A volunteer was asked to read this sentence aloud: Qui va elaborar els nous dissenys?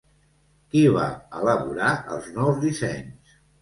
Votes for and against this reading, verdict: 2, 0, accepted